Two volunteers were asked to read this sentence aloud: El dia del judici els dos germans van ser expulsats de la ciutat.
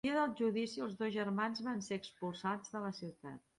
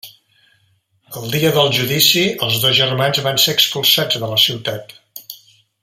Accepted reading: second